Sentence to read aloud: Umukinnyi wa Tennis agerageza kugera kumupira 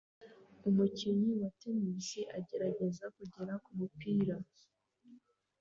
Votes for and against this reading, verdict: 2, 0, accepted